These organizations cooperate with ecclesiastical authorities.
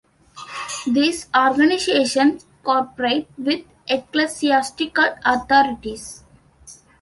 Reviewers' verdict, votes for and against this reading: rejected, 0, 2